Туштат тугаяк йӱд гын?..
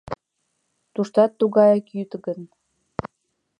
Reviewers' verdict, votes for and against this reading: accepted, 2, 0